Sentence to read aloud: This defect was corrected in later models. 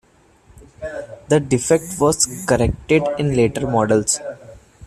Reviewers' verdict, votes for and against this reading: rejected, 0, 2